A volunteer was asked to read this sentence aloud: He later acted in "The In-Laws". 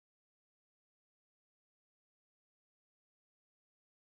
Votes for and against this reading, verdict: 0, 2, rejected